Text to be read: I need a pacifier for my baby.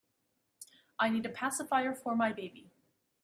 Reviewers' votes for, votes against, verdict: 2, 0, accepted